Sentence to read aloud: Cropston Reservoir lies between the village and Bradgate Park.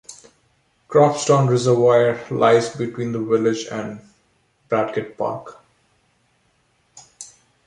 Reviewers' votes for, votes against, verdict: 1, 2, rejected